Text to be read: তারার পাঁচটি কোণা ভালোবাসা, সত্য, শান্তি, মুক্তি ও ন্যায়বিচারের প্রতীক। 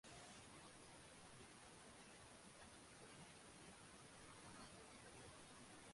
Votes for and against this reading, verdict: 1, 2, rejected